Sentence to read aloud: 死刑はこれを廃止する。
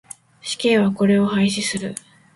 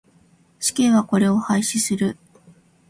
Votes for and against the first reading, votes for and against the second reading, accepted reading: 2, 0, 1, 2, first